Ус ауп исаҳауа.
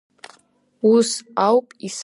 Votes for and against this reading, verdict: 1, 4, rejected